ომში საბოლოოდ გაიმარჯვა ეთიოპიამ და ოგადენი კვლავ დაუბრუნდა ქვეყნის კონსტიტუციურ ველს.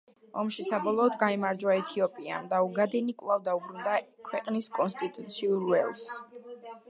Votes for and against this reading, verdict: 1, 2, rejected